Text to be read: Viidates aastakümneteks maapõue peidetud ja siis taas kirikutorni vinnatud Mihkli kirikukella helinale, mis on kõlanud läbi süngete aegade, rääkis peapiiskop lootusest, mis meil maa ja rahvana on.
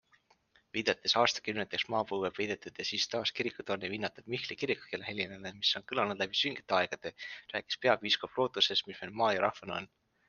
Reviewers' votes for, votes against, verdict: 2, 0, accepted